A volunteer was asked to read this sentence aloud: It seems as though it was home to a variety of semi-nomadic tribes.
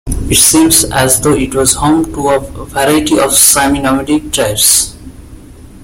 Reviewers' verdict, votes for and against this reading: accepted, 2, 1